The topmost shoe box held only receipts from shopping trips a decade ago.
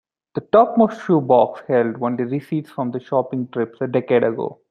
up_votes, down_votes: 2, 1